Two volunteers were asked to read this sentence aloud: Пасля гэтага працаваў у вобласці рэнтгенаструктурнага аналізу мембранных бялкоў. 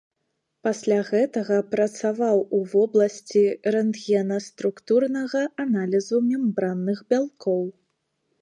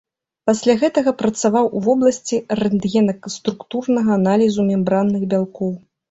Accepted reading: first